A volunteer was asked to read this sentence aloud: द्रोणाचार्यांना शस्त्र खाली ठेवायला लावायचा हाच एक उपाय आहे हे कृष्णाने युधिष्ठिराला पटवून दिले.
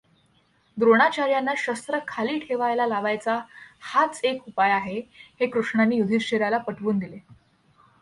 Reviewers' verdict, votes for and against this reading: accepted, 2, 0